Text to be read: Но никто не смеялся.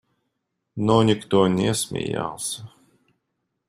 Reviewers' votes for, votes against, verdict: 2, 0, accepted